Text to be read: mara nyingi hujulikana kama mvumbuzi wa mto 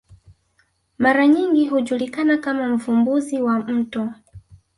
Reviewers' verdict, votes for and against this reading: accepted, 2, 0